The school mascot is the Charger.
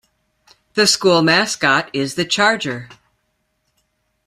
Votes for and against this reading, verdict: 2, 0, accepted